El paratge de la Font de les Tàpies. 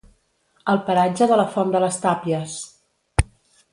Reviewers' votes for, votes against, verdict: 2, 0, accepted